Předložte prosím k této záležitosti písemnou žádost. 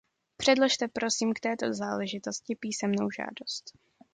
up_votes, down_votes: 2, 0